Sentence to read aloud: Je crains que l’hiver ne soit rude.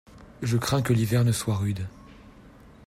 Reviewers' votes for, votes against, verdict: 2, 0, accepted